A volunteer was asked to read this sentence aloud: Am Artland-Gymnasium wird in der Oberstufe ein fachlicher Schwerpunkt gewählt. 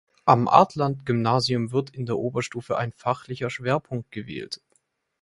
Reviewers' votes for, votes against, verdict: 2, 0, accepted